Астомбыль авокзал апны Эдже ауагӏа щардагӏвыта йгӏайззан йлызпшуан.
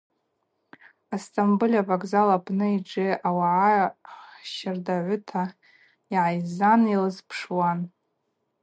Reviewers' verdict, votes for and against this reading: accepted, 2, 0